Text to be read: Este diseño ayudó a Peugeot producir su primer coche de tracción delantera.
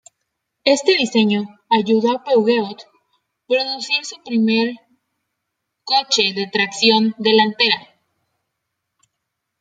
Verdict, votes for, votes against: rejected, 1, 2